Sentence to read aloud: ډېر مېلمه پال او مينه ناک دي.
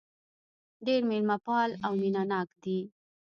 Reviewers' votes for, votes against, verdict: 1, 2, rejected